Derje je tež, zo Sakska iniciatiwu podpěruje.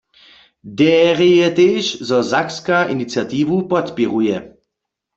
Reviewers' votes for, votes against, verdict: 0, 2, rejected